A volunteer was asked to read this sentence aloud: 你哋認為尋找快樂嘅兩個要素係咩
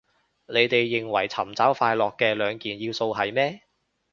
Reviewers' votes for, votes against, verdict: 0, 2, rejected